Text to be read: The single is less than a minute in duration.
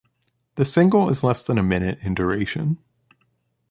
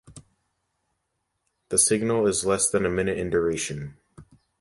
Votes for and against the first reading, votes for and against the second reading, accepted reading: 2, 0, 0, 2, first